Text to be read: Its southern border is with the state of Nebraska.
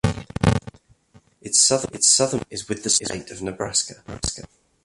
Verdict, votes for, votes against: rejected, 0, 2